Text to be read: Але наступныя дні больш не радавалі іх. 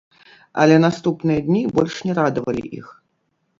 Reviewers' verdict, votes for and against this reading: rejected, 0, 3